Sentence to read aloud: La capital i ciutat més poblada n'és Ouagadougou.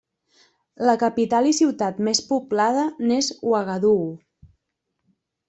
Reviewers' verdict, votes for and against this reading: accepted, 2, 0